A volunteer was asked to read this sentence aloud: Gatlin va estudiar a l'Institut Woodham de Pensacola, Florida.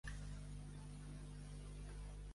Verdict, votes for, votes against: rejected, 0, 2